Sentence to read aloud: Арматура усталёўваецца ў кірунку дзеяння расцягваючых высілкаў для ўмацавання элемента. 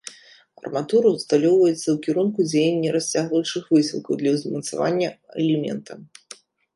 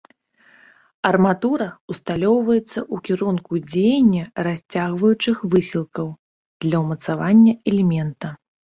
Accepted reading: second